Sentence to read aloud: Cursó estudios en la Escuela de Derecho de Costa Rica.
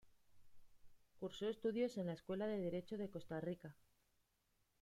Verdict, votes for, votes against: rejected, 0, 2